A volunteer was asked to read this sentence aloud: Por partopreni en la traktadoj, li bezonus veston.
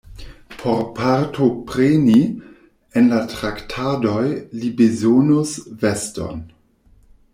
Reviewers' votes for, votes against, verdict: 2, 0, accepted